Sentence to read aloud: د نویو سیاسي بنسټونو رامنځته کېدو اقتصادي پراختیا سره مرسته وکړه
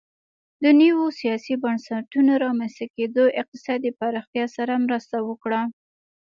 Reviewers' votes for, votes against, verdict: 1, 2, rejected